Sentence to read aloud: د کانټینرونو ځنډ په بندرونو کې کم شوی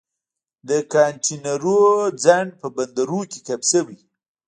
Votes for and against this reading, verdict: 2, 3, rejected